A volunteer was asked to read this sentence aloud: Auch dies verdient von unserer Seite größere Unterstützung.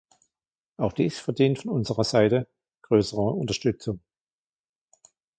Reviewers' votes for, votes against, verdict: 1, 2, rejected